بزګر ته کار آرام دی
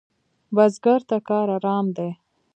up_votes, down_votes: 0, 2